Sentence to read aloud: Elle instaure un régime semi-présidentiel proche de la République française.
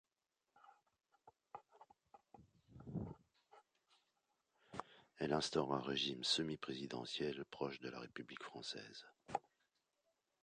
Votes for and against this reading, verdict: 2, 1, accepted